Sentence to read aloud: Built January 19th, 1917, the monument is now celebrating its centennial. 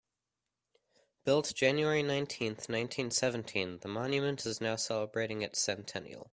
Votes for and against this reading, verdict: 0, 2, rejected